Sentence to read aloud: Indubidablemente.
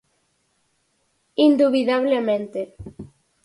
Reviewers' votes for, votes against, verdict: 4, 0, accepted